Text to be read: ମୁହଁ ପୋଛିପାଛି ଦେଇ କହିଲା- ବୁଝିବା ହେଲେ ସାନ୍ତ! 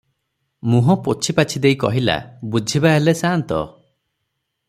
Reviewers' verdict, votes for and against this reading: accepted, 6, 0